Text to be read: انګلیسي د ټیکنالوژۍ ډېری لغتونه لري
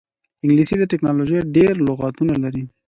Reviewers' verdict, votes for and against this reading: accepted, 2, 0